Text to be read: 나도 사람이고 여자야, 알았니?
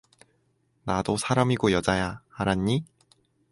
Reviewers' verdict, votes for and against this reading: accepted, 2, 0